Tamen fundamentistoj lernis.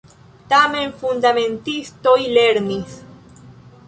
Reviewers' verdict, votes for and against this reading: accepted, 2, 0